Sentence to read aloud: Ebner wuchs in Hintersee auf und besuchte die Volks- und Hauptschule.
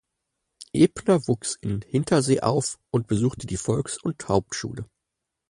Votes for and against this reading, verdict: 4, 0, accepted